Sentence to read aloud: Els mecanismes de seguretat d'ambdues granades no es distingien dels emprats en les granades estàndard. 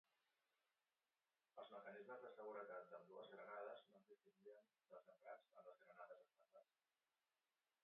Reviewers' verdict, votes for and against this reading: rejected, 0, 2